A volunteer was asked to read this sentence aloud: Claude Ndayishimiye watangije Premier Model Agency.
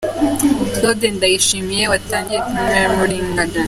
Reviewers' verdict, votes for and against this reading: rejected, 0, 3